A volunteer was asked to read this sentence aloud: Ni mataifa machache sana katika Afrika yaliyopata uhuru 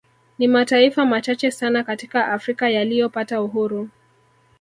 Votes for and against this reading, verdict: 0, 2, rejected